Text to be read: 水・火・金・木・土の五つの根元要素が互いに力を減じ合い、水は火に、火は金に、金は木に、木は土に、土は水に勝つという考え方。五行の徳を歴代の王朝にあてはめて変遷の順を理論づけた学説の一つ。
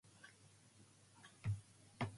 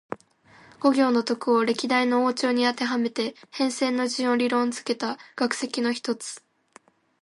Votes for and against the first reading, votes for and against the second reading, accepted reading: 0, 2, 2, 1, second